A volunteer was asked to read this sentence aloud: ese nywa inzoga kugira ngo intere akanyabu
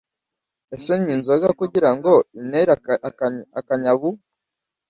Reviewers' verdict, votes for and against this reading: rejected, 1, 2